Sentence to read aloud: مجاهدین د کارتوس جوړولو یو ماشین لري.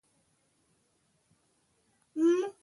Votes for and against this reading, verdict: 1, 2, rejected